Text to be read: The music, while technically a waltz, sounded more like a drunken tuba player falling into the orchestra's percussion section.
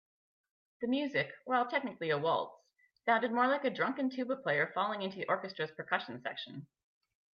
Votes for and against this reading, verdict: 2, 0, accepted